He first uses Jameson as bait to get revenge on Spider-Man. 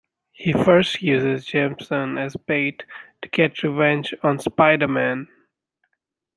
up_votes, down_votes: 2, 0